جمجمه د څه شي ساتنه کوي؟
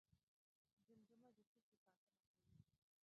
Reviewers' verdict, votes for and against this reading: rejected, 1, 2